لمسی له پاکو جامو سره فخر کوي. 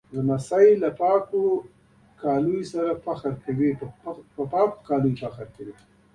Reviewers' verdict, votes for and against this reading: accepted, 2, 1